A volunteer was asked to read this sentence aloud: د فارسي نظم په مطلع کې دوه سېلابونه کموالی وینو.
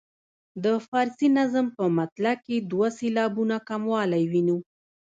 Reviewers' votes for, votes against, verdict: 0, 2, rejected